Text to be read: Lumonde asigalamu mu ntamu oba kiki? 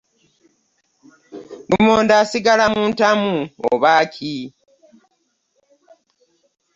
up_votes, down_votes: 0, 2